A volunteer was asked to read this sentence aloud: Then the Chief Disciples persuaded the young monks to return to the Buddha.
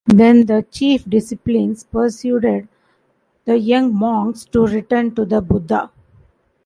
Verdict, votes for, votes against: rejected, 0, 2